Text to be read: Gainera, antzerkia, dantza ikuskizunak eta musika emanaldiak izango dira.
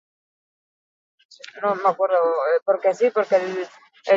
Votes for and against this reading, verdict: 0, 4, rejected